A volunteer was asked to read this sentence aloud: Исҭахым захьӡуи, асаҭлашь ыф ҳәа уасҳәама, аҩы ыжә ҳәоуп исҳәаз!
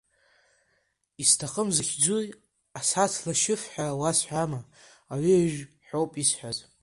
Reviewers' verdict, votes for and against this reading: rejected, 1, 2